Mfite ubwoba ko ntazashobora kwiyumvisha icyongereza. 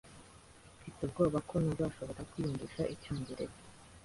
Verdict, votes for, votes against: accepted, 2, 0